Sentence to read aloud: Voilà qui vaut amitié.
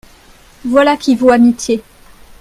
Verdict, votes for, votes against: accepted, 2, 0